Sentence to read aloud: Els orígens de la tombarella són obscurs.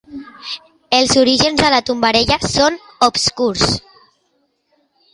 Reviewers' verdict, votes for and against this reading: accepted, 2, 0